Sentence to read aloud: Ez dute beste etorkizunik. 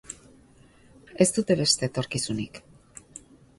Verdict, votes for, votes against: accepted, 3, 0